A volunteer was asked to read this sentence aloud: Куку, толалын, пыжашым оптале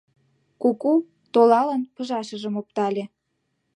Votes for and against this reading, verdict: 2, 0, accepted